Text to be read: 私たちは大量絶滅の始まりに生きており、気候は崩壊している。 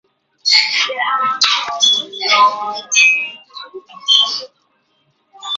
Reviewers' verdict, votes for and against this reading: rejected, 0, 2